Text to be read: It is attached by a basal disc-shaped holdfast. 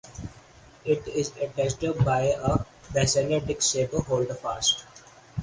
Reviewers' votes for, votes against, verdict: 4, 0, accepted